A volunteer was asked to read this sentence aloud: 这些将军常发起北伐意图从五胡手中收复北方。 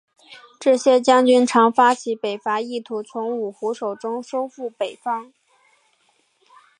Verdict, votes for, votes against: rejected, 0, 2